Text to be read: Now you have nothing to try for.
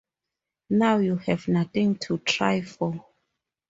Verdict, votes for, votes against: accepted, 2, 0